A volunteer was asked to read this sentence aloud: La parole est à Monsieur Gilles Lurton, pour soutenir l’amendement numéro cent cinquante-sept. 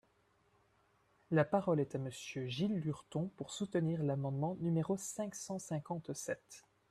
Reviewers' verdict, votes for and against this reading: rejected, 0, 2